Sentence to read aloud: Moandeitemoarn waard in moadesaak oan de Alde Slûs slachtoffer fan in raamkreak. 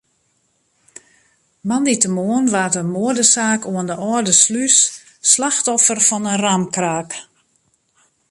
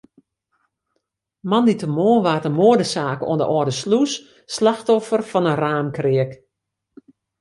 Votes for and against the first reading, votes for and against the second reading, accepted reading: 0, 2, 2, 0, second